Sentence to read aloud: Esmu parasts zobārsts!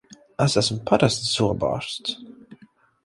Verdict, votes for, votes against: rejected, 0, 4